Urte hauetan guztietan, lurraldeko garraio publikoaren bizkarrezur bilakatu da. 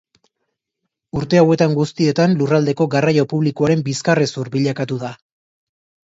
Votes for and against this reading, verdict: 2, 0, accepted